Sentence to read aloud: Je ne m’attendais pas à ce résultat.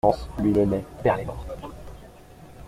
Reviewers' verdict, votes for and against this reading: rejected, 0, 2